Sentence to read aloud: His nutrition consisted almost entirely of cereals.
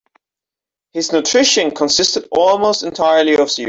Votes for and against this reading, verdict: 1, 2, rejected